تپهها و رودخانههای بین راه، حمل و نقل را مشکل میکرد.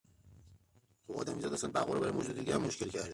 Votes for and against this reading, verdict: 0, 2, rejected